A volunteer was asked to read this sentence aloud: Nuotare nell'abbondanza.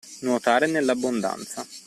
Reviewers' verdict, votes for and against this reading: accepted, 2, 0